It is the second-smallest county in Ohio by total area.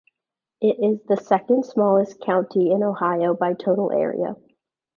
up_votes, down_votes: 2, 0